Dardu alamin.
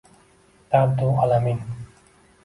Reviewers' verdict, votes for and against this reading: accepted, 2, 0